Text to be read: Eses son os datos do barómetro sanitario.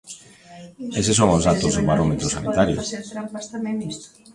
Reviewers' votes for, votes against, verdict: 0, 2, rejected